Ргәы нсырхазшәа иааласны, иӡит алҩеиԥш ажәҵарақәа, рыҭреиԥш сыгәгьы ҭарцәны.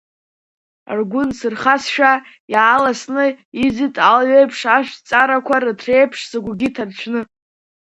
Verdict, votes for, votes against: accepted, 2, 0